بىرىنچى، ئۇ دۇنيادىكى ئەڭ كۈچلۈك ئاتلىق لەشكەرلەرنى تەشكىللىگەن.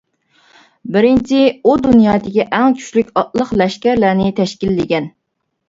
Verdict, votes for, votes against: accepted, 2, 0